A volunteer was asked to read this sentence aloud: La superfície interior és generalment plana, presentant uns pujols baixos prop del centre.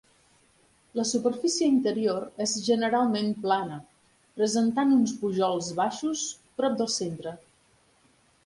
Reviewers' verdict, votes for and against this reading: accepted, 2, 0